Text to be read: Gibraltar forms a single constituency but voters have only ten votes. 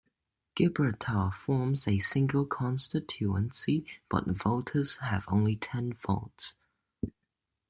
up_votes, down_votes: 0, 2